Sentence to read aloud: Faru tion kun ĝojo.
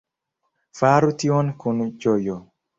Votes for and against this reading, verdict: 1, 2, rejected